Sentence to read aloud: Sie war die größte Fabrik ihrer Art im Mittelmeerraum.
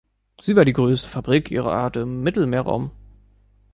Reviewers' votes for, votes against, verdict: 2, 0, accepted